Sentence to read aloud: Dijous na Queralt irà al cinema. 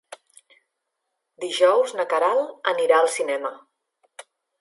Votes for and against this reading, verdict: 0, 2, rejected